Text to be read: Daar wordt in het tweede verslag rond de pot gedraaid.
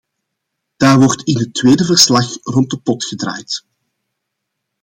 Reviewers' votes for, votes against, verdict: 2, 0, accepted